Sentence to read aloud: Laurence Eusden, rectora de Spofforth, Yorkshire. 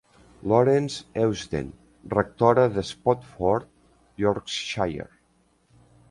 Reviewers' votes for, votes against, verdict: 2, 0, accepted